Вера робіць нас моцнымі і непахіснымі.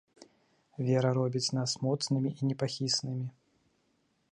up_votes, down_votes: 2, 0